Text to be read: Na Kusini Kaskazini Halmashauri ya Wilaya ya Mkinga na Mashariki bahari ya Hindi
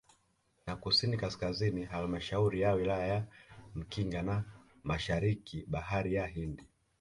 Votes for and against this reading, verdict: 0, 2, rejected